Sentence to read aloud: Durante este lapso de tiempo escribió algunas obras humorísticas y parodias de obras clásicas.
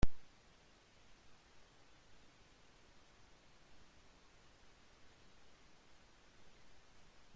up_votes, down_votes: 0, 2